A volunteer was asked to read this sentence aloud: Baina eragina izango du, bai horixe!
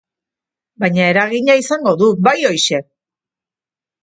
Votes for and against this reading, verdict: 2, 1, accepted